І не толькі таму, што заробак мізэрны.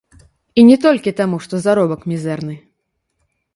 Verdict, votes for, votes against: rejected, 1, 2